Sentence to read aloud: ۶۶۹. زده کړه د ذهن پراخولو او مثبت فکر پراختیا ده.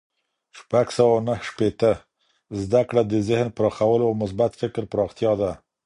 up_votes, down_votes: 0, 2